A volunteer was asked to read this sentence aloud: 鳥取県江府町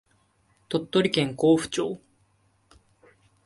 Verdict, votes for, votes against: accepted, 2, 0